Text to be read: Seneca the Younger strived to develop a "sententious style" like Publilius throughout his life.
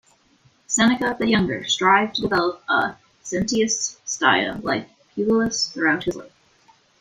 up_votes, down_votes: 1, 2